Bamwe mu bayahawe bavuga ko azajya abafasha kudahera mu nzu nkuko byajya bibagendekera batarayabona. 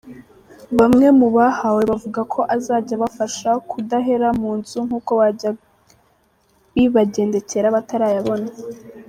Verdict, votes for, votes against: rejected, 0, 2